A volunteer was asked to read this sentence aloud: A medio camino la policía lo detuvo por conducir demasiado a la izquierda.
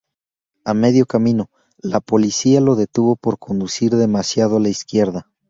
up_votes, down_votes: 0, 2